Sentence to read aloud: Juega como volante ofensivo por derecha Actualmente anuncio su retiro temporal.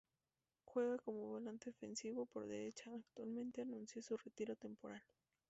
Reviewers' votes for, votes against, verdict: 0, 2, rejected